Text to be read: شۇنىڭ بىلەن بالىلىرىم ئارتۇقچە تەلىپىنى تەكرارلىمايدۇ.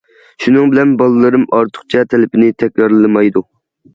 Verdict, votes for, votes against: accepted, 2, 0